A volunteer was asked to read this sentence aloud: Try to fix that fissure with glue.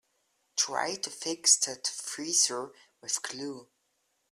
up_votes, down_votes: 1, 2